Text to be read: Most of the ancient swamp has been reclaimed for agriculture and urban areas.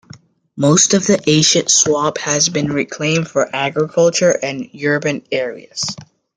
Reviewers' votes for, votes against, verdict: 1, 2, rejected